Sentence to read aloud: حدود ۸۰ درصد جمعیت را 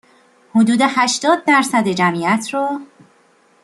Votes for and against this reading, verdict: 0, 2, rejected